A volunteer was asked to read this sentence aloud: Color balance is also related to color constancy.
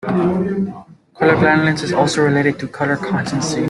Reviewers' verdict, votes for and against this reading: rejected, 0, 2